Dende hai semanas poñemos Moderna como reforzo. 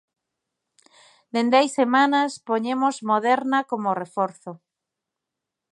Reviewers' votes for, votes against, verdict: 2, 0, accepted